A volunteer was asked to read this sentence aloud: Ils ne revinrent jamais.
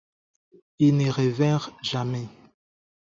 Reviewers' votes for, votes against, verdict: 2, 4, rejected